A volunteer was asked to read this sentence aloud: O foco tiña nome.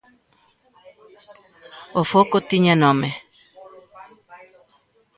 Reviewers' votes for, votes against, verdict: 0, 2, rejected